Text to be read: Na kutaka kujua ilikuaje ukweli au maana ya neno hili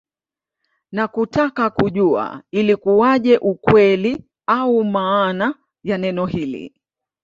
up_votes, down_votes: 2, 0